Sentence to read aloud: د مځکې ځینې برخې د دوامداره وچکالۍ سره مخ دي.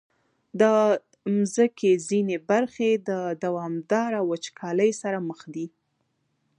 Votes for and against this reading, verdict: 2, 0, accepted